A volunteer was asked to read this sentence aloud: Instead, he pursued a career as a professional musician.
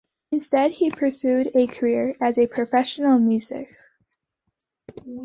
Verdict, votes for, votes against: rejected, 1, 2